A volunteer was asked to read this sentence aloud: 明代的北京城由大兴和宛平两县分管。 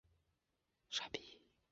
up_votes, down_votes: 0, 3